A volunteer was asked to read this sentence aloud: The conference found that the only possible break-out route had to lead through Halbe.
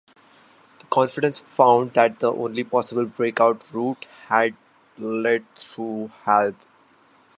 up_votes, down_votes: 2, 1